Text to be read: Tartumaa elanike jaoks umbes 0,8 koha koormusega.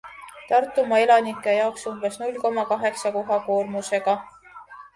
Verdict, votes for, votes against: rejected, 0, 2